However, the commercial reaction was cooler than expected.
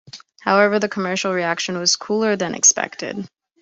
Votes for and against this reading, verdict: 2, 0, accepted